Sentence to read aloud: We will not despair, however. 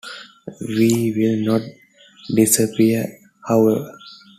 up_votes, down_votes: 0, 2